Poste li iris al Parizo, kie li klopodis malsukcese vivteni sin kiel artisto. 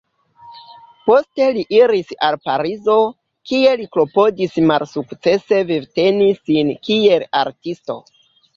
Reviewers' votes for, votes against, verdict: 2, 0, accepted